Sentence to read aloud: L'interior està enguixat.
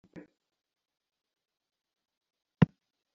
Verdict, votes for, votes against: rejected, 0, 2